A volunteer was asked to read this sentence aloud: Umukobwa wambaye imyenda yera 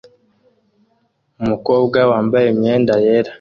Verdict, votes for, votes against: accepted, 2, 0